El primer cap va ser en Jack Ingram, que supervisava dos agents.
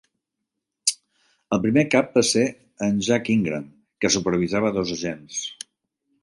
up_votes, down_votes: 3, 0